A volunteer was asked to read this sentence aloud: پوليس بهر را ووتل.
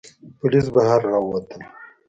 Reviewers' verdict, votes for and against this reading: accepted, 2, 0